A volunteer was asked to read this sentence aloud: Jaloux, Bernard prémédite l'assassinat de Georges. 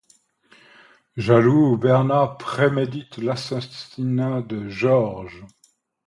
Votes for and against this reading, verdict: 2, 0, accepted